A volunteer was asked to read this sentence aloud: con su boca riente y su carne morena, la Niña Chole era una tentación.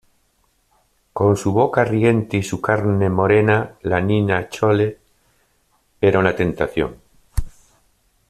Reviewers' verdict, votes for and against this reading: accepted, 2, 0